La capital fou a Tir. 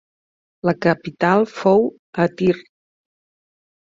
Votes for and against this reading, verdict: 2, 0, accepted